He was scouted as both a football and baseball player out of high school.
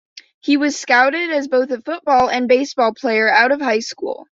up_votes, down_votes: 2, 0